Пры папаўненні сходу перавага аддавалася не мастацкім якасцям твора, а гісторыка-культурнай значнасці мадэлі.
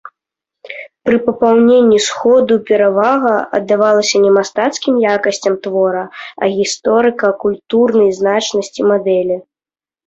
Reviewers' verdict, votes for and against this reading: accepted, 2, 0